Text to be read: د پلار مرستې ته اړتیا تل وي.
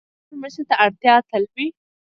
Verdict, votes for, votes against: rejected, 0, 2